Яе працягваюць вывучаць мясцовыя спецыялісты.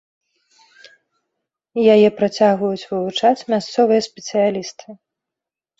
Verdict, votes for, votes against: accepted, 2, 0